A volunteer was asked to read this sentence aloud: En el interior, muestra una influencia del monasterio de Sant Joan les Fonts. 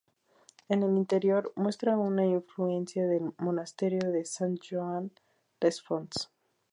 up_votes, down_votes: 2, 0